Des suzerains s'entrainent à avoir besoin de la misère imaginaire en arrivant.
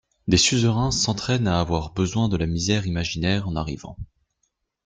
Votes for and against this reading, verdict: 2, 0, accepted